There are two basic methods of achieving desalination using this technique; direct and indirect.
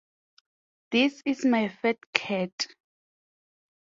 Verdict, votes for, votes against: rejected, 0, 4